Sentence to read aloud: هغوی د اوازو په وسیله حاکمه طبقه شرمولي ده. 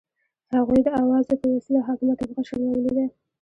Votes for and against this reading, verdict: 2, 0, accepted